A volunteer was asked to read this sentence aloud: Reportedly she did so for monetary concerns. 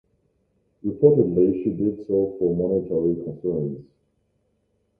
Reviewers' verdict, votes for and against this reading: accepted, 2, 1